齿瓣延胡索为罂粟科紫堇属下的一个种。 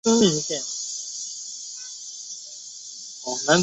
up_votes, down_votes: 2, 4